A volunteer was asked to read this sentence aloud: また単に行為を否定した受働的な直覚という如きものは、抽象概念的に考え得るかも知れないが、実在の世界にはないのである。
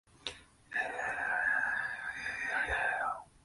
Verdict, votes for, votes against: rejected, 1, 3